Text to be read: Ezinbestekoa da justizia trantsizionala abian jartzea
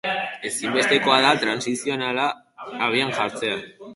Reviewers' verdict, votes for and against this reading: rejected, 0, 6